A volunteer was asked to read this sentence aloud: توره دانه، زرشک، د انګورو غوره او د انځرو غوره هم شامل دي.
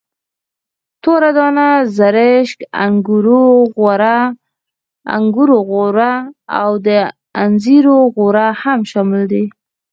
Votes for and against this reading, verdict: 0, 4, rejected